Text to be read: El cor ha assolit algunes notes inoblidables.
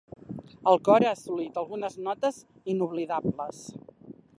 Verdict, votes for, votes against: accepted, 4, 0